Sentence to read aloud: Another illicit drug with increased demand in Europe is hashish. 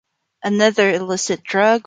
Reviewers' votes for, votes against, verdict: 1, 3, rejected